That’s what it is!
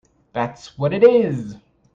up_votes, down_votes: 2, 1